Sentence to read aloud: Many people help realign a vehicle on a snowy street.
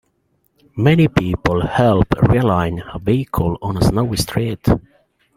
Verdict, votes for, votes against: accepted, 2, 0